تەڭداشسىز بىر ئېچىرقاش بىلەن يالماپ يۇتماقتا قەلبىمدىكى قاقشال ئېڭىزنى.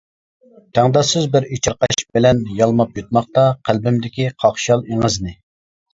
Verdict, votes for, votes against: accepted, 2, 1